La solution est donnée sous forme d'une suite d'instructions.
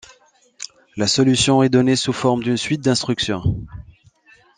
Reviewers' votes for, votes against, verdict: 2, 1, accepted